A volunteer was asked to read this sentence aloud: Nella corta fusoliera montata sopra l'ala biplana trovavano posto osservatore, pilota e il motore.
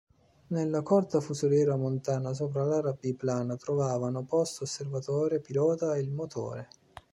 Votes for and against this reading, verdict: 1, 2, rejected